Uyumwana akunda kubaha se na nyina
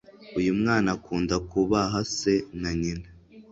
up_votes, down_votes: 2, 0